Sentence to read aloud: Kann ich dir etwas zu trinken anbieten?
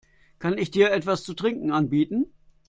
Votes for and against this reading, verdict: 2, 0, accepted